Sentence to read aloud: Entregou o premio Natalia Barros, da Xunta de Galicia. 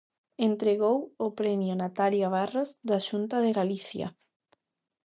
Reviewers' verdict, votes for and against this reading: accepted, 2, 0